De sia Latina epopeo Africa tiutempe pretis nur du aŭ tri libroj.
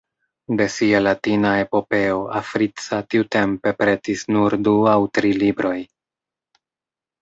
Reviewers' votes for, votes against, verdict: 1, 2, rejected